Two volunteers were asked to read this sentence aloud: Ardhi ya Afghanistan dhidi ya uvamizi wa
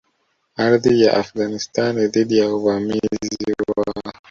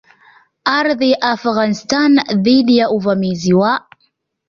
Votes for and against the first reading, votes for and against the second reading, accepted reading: 1, 2, 2, 0, second